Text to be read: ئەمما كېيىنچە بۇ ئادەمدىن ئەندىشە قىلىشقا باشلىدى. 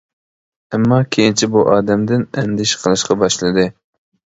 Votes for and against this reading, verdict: 2, 0, accepted